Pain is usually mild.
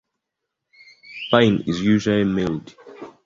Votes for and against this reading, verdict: 1, 2, rejected